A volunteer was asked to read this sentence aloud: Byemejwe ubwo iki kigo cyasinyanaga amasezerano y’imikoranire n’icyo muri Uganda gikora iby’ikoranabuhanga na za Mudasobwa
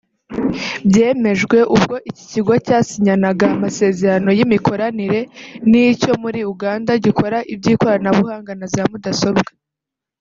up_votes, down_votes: 3, 0